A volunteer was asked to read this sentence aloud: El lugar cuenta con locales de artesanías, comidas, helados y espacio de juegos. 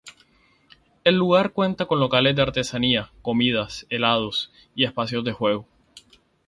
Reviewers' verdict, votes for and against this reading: accepted, 2, 0